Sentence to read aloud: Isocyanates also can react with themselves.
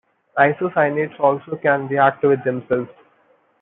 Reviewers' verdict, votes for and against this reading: accepted, 2, 1